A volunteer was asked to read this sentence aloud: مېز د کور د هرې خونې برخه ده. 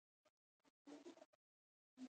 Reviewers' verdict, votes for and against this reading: rejected, 1, 2